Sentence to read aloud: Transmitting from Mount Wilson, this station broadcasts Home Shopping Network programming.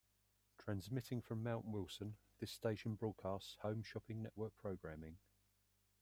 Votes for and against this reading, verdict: 2, 1, accepted